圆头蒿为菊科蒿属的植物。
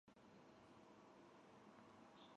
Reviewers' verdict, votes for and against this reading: rejected, 0, 3